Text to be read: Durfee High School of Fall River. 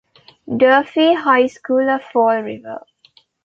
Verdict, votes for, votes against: accepted, 2, 0